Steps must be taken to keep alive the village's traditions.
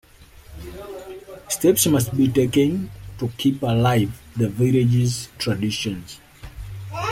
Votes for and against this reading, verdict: 2, 0, accepted